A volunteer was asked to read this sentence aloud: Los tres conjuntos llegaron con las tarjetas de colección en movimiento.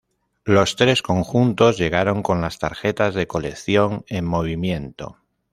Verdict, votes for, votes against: accepted, 2, 0